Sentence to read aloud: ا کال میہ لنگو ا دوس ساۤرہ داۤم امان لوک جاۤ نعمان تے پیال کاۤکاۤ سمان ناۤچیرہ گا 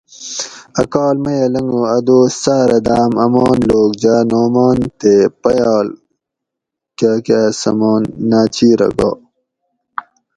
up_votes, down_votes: 2, 0